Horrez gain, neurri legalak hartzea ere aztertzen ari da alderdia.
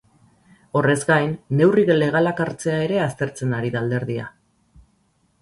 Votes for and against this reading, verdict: 0, 2, rejected